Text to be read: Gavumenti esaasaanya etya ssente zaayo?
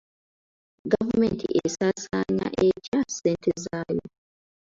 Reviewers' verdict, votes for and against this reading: accepted, 2, 1